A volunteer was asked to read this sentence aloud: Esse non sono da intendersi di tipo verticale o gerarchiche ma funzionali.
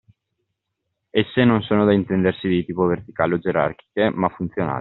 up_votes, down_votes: 0, 2